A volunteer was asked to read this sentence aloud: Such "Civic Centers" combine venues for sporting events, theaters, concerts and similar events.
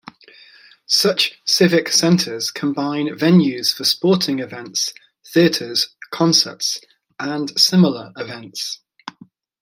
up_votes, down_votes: 2, 0